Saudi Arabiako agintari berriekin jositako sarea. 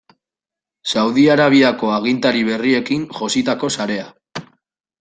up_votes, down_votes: 2, 0